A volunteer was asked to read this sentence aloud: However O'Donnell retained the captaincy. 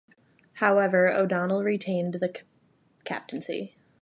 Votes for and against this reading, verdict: 1, 2, rejected